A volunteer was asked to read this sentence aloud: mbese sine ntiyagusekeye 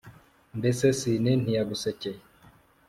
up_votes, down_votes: 2, 1